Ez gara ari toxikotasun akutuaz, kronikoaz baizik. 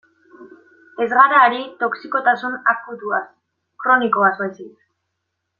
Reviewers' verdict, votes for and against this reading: accepted, 2, 0